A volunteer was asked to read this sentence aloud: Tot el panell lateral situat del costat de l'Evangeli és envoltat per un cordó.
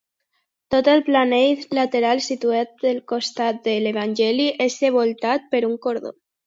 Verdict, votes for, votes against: rejected, 0, 2